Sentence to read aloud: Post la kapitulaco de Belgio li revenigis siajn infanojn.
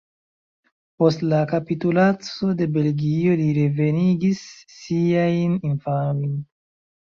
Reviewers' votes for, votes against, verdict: 0, 2, rejected